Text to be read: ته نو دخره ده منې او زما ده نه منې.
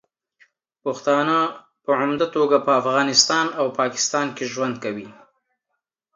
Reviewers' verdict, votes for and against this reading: rejected, 0, 2